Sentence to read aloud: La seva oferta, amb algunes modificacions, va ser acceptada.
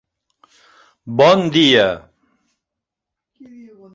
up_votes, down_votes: 0, 2